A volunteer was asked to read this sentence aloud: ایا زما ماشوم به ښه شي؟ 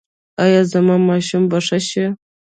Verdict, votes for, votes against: rejected, 0, 2